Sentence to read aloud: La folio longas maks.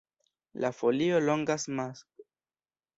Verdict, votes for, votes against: rejected, 1, 3